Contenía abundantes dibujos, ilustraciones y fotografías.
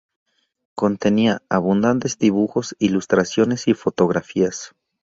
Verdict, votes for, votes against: rejected, 0, 2